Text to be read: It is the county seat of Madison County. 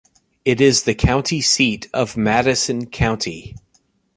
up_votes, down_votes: 2, 0